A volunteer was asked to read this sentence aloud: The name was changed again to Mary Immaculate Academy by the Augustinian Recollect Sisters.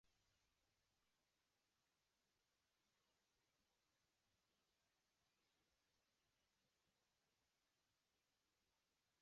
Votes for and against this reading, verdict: 0, 3, rejected